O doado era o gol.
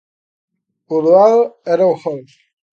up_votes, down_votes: 2, 0